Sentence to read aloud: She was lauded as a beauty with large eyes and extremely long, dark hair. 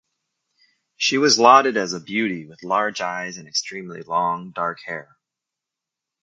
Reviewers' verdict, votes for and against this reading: accepted, 2, 1